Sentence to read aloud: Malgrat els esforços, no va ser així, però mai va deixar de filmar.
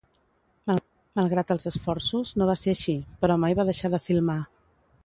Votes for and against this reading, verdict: 2, 2, rejected